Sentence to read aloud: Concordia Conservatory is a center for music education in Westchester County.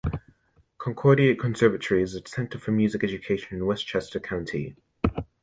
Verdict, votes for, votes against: rejected, 0, 2